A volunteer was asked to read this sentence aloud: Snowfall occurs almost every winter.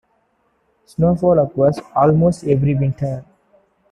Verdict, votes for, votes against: accepted, 2, 1